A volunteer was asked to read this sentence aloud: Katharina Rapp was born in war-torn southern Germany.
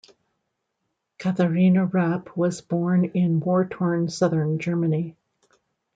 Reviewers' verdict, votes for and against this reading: accepted, 2, 0